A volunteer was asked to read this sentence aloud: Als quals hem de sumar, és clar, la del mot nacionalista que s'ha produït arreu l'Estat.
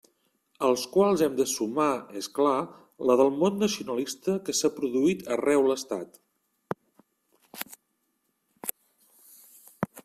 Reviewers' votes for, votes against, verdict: 2, 0, accepted